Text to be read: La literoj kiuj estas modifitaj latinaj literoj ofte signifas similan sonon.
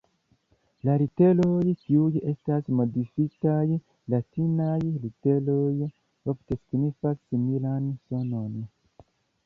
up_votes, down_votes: 2, 0